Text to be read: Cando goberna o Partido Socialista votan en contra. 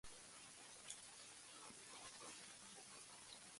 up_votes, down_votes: 0, 2